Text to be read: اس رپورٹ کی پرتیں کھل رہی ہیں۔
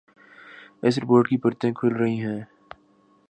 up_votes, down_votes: 2, 0